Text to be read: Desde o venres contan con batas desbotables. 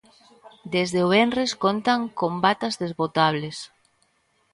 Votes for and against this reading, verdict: 2, 0, accepted